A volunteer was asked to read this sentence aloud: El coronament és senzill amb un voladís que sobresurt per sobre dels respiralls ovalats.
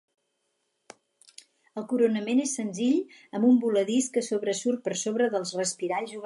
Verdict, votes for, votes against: rejected, 2, 4